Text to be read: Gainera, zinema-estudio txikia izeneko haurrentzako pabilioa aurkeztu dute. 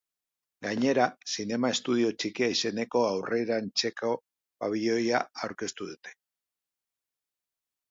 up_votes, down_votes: 1, 2